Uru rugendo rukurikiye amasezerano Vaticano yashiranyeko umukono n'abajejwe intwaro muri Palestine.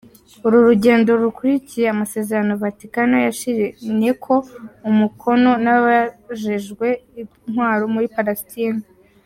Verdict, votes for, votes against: rejected, 0, 2